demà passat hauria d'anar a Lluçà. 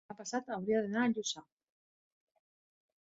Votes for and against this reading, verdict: 1, 2, rejected